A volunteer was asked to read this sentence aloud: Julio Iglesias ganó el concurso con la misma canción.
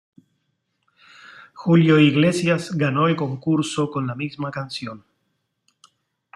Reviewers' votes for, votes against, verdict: 2, 0, accepted